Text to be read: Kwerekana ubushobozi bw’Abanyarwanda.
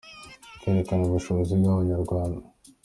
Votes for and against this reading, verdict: 2, 0, accepted